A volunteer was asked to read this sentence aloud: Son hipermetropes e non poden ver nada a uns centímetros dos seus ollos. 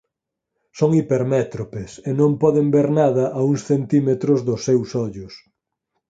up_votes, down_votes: 2, 4